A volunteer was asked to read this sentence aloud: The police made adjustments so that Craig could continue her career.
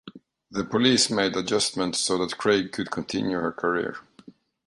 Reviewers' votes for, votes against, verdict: 2, 0, accepted